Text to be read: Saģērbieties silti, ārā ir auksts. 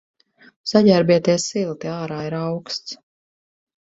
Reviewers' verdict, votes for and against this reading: accepted, 4, 0